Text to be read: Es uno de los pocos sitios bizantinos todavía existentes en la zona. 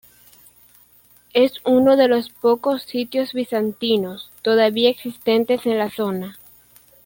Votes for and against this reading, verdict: 2, 0, accepted